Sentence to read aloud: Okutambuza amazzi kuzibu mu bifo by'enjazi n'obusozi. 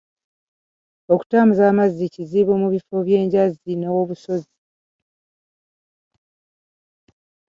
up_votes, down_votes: 1, 2